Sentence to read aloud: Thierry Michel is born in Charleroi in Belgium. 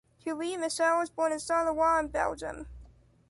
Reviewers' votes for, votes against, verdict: 2, 1, accepted